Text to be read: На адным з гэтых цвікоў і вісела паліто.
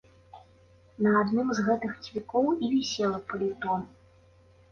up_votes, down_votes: 2, 0